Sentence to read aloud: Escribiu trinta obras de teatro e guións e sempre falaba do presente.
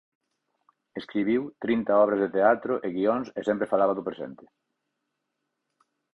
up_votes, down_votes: 4, 0